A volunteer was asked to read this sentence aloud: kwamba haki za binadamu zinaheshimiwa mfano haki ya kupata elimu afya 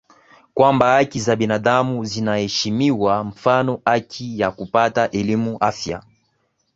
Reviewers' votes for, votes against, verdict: 4, 0, accepted